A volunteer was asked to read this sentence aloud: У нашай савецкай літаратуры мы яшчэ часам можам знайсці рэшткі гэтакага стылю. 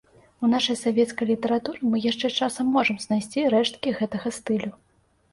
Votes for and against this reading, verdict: 0, 2, rejected